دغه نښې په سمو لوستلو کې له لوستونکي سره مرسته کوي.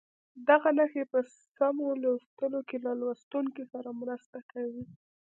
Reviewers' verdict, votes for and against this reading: rejected, 0, 2